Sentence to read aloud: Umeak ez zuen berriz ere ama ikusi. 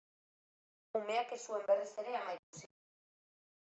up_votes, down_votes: 1, 2